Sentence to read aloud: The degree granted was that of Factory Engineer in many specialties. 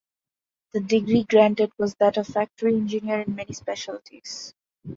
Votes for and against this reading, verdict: 2, 0, accepted